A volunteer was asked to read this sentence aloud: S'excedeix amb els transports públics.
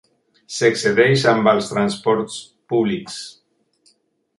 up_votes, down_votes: 3, 0